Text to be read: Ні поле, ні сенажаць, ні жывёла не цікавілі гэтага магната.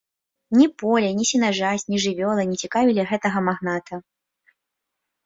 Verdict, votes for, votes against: accepted, 3, 0